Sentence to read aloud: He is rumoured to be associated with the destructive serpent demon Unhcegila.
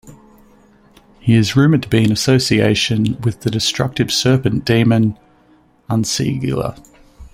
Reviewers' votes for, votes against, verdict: 0, 2, rejected